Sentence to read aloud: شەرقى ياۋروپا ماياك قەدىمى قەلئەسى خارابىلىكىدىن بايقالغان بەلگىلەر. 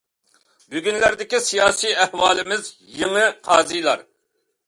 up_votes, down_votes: 0, 2